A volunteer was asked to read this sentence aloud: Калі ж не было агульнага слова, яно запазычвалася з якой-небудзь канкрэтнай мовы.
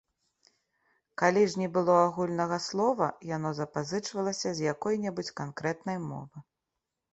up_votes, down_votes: 2, 1